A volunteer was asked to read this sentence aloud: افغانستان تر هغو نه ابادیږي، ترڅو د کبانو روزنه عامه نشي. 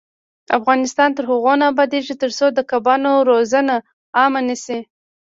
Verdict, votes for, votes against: accepted, 2, 1